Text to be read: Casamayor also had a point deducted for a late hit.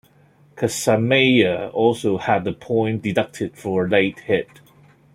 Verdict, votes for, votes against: accepted, 2, 0